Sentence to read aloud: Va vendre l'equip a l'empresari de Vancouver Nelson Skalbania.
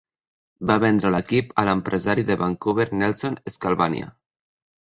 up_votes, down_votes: 2, 0